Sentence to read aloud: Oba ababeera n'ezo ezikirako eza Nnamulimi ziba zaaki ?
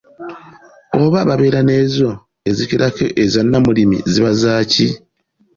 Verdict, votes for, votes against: accepted, 2, 0